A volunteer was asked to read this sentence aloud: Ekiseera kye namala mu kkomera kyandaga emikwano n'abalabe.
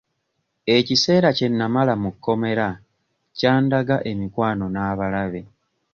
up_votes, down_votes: 2, 0